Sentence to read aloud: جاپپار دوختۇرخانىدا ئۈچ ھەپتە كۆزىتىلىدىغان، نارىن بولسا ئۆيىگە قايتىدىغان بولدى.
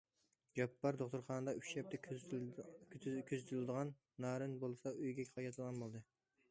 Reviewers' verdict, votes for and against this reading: rejected, 1, 2